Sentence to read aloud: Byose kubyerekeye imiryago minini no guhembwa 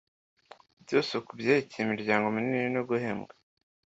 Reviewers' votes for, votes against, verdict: 1, 2, rejected